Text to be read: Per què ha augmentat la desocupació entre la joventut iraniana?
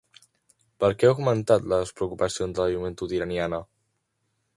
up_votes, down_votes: 0, 2